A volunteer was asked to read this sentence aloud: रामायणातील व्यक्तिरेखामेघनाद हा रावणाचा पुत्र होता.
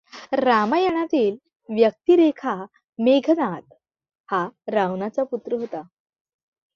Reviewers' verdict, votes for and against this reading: accepted, 2, 0